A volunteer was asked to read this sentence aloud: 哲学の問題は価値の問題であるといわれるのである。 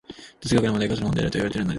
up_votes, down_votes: 0, 2